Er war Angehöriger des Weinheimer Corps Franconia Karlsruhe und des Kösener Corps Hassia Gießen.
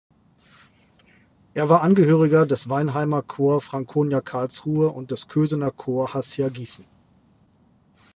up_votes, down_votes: 2, 0